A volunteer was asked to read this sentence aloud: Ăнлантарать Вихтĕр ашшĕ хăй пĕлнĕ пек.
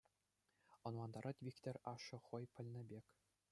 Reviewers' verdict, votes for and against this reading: accepted, 2, 0